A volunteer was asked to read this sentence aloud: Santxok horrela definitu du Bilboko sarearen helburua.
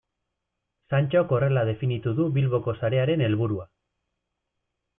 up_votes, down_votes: 2, 0